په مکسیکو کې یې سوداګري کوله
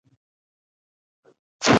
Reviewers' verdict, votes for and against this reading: rejected, 0, 2